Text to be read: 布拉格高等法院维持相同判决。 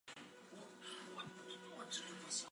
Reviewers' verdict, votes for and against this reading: rejected, 1, 3